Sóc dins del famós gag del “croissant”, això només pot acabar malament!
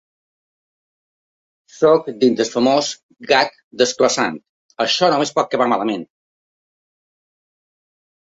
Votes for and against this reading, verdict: 1, 2, rejected